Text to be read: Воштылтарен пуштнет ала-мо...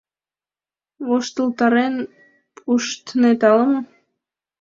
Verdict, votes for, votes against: accepted, 2, 0